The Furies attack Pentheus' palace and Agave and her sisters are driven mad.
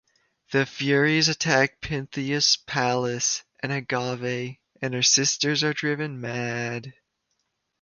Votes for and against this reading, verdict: 2, 0, accepted